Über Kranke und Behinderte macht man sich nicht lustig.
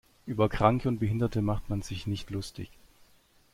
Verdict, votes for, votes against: accepted, 2, 1